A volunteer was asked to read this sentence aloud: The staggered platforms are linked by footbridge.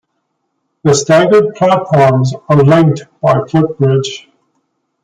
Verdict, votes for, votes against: accepted, 2, 0